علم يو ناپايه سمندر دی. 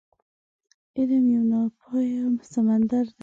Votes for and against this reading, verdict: 0, 2, rejected